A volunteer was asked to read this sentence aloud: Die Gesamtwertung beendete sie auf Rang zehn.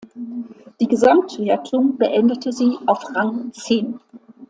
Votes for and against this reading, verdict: 2, 0, accepted